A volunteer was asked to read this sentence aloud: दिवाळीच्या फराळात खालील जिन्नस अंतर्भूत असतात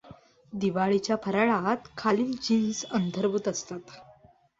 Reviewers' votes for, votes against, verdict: 0, 2, rejected